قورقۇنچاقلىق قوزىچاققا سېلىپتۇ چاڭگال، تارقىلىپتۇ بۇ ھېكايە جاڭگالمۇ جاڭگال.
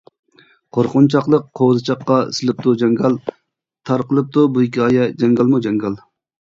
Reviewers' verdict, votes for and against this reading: rejected, 1, 2